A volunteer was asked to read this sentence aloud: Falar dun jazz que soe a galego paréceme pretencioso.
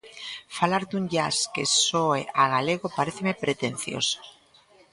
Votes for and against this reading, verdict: 1, 2, rejected